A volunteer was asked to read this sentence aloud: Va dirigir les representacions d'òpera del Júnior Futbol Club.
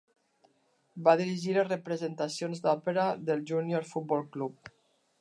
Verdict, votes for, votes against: accepted, 2, 1